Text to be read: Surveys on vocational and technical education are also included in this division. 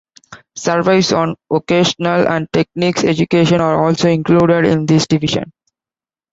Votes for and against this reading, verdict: 1, 2, rejected